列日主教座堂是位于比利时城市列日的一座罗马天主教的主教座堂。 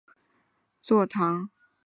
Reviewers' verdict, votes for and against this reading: rejected, 1, 2